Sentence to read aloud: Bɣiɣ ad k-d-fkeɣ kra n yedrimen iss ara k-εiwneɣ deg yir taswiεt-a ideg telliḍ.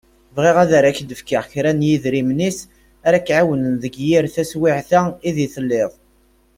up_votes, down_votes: 1, 2